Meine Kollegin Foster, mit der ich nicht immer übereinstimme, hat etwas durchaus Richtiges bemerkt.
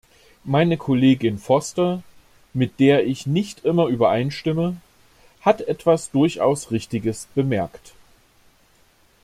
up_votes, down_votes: 2, 0